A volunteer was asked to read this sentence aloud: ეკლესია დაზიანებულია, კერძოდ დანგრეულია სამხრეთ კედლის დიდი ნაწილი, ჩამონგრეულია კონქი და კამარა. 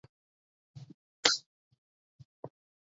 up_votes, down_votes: 0, 3